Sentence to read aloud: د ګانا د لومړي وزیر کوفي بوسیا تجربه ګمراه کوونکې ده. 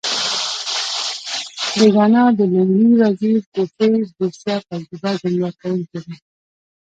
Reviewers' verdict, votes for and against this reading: rejected, 1, 2